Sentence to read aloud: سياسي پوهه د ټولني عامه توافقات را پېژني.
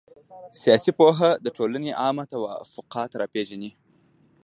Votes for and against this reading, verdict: 1, 2, rejected